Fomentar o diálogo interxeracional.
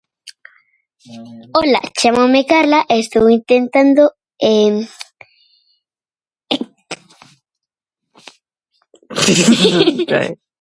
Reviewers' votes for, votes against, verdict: 0, 2, rejected